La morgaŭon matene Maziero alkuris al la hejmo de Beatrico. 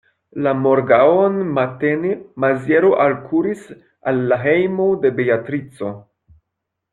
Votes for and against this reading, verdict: 2, 0, accepted